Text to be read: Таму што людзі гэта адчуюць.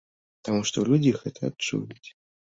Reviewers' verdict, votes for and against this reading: accepted, 2, 0